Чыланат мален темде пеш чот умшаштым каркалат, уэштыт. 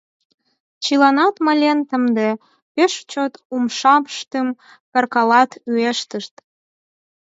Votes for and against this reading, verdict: 0, 4, rejected